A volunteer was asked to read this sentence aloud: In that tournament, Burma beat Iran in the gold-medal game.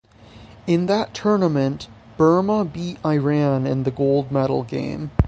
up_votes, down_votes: 3, 6